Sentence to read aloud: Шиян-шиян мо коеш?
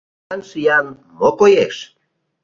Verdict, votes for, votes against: rejected, 1, 2